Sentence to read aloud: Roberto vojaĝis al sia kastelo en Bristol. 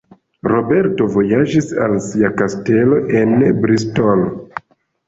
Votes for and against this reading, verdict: 2, 0, accepted